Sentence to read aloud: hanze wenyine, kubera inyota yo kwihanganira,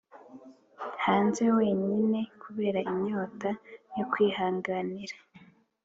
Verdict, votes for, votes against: accepted, 3, 0